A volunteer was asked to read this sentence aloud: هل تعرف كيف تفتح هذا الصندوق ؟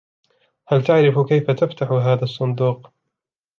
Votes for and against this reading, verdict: 2, 0, accepted